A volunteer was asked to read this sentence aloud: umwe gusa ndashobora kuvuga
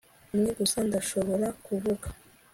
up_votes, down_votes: 2, 0